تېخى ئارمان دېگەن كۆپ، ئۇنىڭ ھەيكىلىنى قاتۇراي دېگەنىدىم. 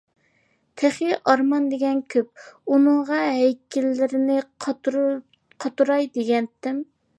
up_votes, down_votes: 0, 2